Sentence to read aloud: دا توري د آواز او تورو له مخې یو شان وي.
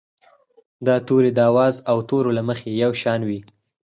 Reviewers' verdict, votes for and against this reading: accepted, 4, 0